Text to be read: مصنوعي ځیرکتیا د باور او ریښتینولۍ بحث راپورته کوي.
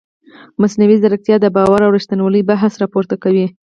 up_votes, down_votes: 2, 4